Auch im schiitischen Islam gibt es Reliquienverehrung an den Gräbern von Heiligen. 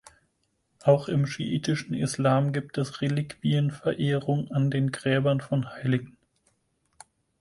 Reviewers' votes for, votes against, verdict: 4, 2, accepted